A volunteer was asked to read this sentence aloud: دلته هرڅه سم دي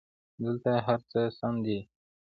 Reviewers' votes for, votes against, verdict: 2, 0, accepted